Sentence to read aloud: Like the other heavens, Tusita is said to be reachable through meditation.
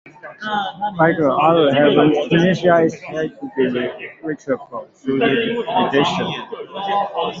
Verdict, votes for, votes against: rejected, 1, 2